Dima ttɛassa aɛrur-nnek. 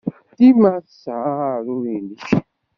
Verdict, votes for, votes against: rejected, 0, 2